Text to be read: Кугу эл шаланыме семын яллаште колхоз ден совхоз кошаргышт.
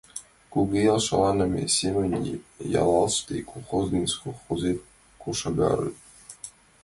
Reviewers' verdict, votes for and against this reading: rejected, 0, 6